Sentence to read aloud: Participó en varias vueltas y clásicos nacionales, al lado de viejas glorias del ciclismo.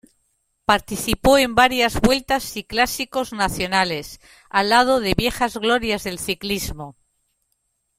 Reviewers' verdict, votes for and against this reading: rejected, 1, 2